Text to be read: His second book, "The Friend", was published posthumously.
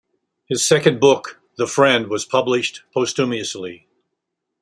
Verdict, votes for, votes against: accepted, 2, 0